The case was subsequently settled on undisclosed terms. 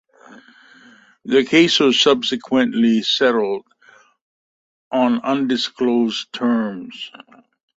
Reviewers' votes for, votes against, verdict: 1, 2, rejected